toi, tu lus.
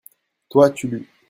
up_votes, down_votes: 2, 0